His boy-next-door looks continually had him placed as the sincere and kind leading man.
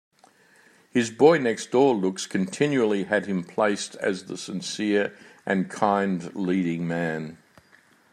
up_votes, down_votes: 2, 0